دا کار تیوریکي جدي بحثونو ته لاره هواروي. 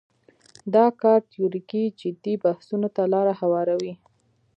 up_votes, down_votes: 2, 0